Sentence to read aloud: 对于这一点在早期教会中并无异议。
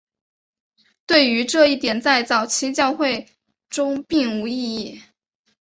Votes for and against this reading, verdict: 2, 0, accepted